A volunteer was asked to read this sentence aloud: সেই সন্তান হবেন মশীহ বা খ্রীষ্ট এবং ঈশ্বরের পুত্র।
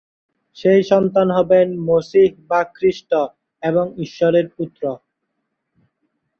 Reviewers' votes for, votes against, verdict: 0, 2, rejected